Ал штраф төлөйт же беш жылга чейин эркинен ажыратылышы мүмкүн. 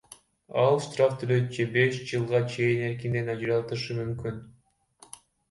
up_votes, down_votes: 1, 2